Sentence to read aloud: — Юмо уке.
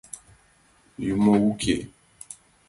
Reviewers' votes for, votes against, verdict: 2, 0, accepted